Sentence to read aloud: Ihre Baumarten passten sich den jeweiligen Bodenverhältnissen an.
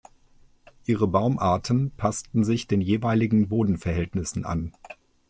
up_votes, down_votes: 2, 0